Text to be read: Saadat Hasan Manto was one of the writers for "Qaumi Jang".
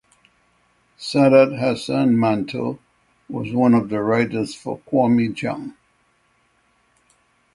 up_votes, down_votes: 3, 0